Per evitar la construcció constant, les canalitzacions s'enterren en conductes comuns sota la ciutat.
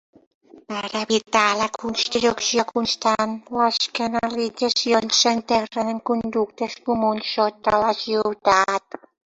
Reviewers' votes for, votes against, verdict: 2, 1, accepted